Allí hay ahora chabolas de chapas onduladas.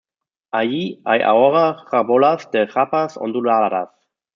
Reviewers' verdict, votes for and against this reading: rejected, 1, 2